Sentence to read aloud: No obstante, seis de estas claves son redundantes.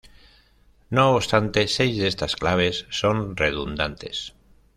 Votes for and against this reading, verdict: 2, 0, accepted